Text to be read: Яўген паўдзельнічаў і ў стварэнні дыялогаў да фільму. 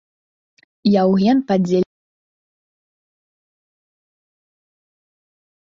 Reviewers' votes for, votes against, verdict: 1, 2, rejected